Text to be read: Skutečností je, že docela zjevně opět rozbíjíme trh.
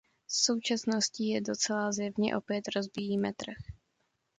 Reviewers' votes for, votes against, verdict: 1, 2, rejected